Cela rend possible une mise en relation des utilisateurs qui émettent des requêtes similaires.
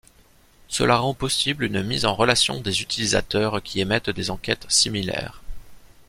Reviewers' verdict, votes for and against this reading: rejected, 1, 2